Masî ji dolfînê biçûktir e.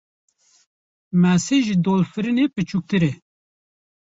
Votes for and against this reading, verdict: 1, 2, rejected